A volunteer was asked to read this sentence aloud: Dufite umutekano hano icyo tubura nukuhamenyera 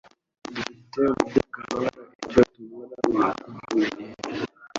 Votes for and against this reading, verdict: 0, 2, rejected